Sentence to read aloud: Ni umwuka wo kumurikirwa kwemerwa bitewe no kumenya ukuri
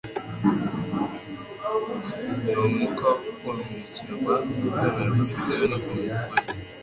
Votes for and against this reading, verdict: 0, 2, rejected